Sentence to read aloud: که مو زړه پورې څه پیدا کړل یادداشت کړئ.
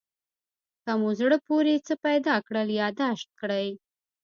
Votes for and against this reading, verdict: 2, 0, accepted